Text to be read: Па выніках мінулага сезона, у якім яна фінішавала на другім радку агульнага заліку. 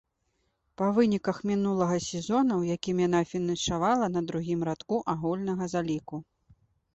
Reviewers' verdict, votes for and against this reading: accepted, 2, 1